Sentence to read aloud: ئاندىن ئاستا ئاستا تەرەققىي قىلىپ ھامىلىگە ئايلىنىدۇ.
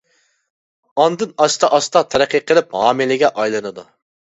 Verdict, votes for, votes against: accepted, 2, 0